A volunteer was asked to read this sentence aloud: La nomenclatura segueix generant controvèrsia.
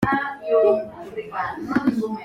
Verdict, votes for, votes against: rejected, 0, 2